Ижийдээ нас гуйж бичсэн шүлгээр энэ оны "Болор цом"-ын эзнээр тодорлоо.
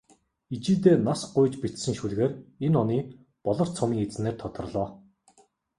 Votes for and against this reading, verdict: 2, 0, accepted